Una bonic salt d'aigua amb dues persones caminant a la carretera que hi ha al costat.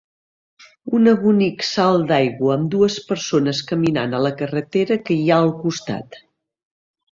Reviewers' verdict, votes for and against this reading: accepted, 2, 0